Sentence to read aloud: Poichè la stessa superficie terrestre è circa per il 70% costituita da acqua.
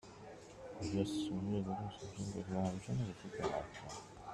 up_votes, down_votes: 0, 2